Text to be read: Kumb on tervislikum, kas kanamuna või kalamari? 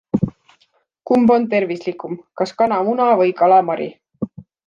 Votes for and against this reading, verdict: 2, 0, accepted